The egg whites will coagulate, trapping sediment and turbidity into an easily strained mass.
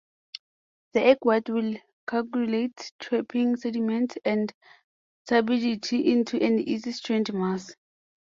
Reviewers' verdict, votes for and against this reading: rejected, 0, 2